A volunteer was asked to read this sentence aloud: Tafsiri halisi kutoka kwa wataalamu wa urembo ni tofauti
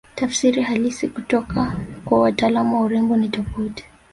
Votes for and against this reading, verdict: 2, 0, accepted